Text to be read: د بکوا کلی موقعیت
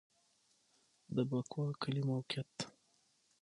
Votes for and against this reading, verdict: 6, 0, accepted